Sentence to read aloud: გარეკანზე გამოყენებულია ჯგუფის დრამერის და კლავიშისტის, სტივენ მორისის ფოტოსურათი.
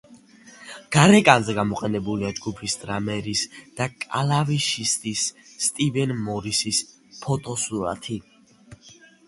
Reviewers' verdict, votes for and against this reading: accepted, 2, 0